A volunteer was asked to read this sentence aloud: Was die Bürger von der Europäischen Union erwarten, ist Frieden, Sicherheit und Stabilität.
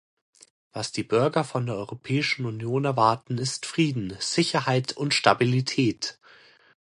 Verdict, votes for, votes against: accepted, 2, 0